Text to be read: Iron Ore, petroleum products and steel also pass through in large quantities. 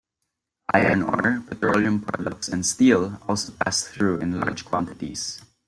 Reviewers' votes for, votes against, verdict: 1, 2, rejected